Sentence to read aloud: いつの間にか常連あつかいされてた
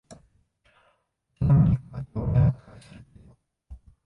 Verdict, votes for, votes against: rejected, 1, 4